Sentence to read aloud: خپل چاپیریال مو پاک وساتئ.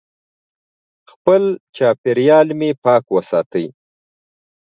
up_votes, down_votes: 0, 2